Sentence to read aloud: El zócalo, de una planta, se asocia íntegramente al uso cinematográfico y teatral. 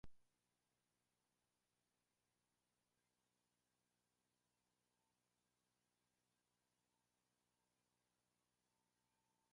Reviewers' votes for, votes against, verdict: 0, 2, rejected